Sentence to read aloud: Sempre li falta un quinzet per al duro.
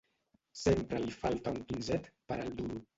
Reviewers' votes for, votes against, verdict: 1, 2, rejected